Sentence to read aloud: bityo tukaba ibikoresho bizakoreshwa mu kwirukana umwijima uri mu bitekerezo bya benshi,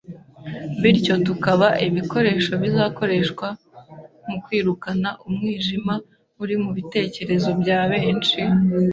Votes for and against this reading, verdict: 2, 0, accepted